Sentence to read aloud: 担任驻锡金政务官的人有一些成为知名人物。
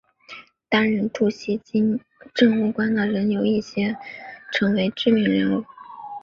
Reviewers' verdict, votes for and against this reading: accepted, 5, 0